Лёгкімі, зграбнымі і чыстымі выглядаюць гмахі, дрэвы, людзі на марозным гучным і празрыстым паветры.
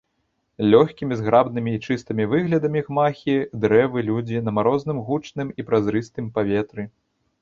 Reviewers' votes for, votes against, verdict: 0, 2, rejected